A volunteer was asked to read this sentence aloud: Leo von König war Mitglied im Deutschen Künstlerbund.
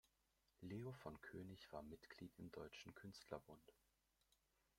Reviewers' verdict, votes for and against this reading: rejected, 1, 2